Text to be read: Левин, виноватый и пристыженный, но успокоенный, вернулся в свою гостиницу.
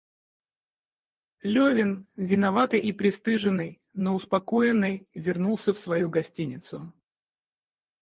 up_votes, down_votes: 4, 0